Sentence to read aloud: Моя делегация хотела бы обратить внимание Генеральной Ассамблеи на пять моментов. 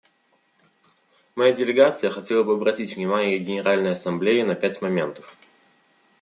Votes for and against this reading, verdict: 2, 0, accepted